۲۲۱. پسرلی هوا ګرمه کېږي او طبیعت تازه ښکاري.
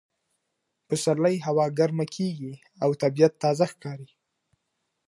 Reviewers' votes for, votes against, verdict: 0, 2, rejected